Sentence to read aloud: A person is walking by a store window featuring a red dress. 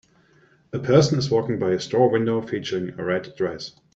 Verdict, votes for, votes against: accepted, 2, 0